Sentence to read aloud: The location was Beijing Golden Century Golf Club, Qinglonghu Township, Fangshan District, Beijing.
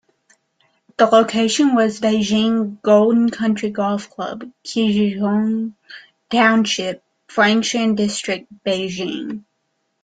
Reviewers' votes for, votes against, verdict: 2, 0, accepted